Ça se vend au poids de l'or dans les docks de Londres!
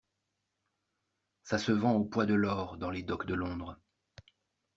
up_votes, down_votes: 2, 0